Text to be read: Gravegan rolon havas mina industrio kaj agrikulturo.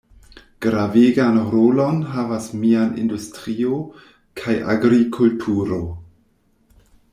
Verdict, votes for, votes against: rejected, 0, 2